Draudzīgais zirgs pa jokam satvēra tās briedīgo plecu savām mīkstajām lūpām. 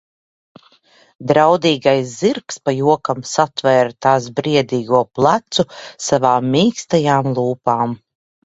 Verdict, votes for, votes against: rejected, 0, 2